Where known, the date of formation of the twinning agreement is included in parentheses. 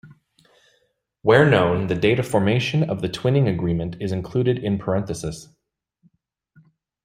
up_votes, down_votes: 2, 0